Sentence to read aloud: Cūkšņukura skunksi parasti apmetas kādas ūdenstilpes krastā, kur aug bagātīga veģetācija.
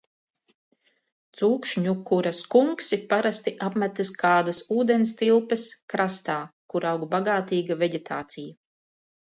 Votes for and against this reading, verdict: 2, 0, accepted